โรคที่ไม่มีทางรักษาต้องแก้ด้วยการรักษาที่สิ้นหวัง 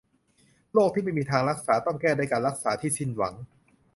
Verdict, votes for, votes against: accepted, 2, 0